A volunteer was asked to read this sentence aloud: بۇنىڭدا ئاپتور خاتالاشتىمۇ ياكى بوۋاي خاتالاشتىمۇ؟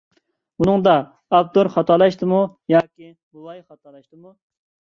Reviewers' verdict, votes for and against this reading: rejected, 0, 2